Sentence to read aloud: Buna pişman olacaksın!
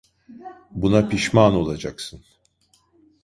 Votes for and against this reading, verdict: 0, 2, rejected